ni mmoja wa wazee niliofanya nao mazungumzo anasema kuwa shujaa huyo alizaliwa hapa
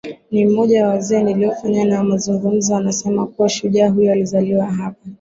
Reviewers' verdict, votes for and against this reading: accepted, 7, 1